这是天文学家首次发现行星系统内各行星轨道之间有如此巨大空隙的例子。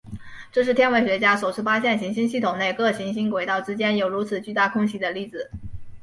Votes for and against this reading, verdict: 4, 0, accepted